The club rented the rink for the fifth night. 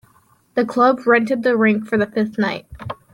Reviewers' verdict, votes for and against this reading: accepted, 3, 0